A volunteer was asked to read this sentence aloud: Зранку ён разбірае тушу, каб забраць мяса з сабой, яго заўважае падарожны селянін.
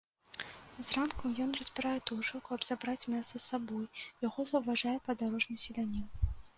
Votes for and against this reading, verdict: 2, 0, accepted